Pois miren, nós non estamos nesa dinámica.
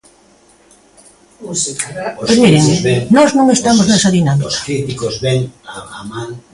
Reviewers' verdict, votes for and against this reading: rejected, 0, 2